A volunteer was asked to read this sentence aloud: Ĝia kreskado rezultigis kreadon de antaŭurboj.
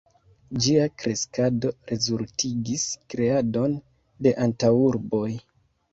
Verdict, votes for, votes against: accepted, 2, 1